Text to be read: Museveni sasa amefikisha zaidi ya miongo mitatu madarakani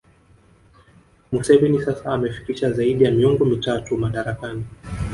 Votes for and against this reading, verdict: 0, 2, rejected